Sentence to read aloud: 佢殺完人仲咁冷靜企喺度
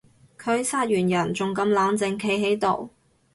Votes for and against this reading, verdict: 2, 0, accepted